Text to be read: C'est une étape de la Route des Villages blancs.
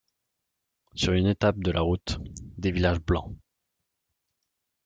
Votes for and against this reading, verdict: 0, 2, rejected